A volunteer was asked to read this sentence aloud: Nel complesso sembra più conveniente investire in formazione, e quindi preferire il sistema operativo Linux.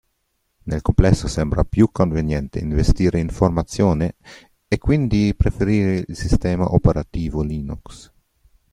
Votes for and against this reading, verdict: 2, 0, accepted